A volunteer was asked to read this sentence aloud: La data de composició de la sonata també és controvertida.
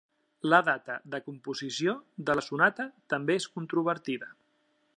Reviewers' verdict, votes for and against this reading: accepted, 3, 0